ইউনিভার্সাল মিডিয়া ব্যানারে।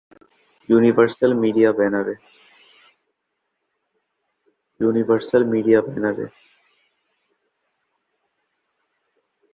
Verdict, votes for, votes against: rejected, 1, 3